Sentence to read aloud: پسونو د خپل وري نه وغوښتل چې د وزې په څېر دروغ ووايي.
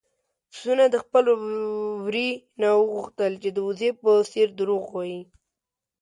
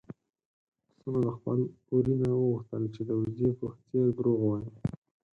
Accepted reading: first